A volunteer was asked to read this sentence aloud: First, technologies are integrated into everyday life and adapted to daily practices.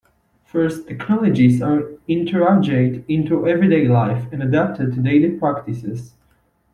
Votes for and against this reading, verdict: 2, 1, accepted